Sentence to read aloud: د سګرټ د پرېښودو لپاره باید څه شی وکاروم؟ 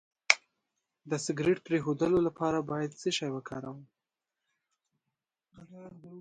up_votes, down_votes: 2, 0